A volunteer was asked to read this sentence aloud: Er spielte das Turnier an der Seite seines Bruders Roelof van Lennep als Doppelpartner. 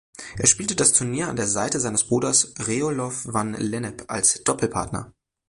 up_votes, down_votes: 1, 2